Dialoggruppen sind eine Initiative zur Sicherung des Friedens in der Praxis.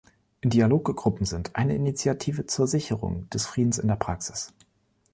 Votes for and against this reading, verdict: 0, 2, rejected